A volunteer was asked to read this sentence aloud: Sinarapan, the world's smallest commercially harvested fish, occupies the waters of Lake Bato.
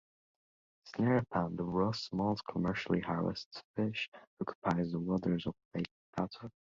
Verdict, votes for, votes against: rejected, 1, 2